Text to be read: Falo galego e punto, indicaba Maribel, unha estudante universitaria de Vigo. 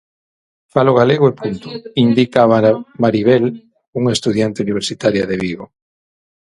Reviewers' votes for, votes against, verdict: 0, 6, rejected